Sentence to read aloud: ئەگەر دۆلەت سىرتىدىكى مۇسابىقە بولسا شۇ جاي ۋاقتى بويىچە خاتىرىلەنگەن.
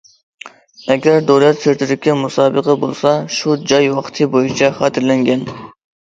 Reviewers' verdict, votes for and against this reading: accepted, 2, 0